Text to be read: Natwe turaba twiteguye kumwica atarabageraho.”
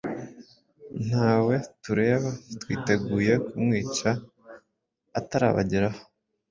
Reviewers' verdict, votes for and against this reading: rejected, 1, 2